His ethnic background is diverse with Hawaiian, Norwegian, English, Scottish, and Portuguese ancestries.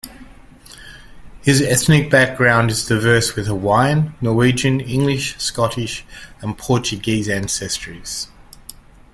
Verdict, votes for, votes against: accepted, 2, 0